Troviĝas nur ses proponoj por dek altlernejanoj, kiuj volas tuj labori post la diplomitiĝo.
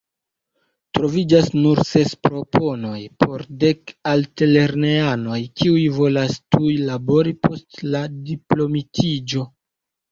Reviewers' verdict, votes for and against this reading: accepted, 2, 1